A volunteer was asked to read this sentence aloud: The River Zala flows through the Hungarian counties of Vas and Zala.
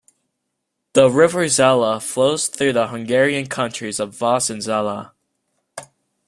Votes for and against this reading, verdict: 2, 1, accepted